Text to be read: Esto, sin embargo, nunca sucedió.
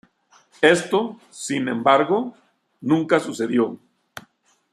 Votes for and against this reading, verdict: 2, 0, accepted